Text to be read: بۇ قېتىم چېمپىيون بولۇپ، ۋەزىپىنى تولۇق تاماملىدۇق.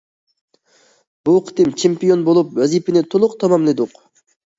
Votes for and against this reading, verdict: 2, 0, accepted